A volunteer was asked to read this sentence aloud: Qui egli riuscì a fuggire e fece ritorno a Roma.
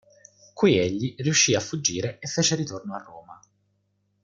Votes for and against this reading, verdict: 2, 1, accepted